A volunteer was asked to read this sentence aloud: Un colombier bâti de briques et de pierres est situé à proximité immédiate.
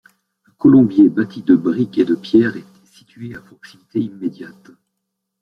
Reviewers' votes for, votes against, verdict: 1, 2, rejected